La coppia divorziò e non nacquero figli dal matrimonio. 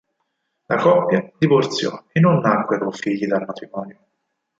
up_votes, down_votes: 2, 4